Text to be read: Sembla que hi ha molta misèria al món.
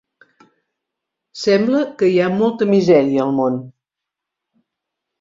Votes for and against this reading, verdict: 2, 0, accepted